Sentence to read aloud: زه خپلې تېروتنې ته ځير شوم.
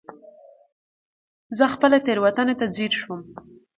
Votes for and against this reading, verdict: 9, 0, accepted